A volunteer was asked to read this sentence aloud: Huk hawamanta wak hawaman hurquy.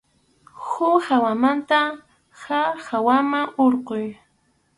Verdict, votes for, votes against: rejected, 0, 2